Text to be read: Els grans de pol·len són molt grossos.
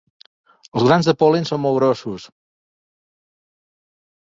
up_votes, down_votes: 2, 0